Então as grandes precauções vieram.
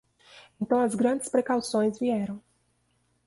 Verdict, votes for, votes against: accepted, 2, 0